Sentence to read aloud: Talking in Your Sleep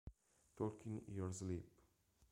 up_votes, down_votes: 0, 2